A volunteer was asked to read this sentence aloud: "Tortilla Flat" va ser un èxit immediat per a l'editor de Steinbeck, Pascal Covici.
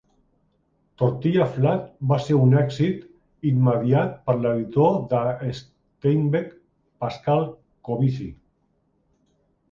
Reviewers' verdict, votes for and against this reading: rejected, 1, 2